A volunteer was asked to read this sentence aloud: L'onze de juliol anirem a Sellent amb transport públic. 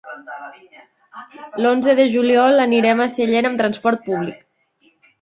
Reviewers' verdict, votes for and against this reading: rejected, 1, 2